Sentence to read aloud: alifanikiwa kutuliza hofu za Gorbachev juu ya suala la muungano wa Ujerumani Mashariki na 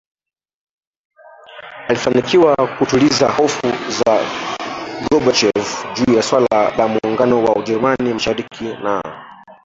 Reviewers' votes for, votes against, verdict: 1, 2, rejected